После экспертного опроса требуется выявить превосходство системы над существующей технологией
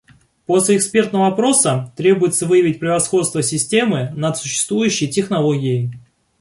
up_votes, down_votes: 2, 0